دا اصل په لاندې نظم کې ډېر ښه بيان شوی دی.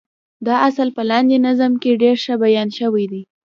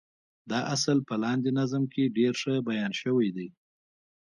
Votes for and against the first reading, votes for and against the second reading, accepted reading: 1, 2, 2, 0, second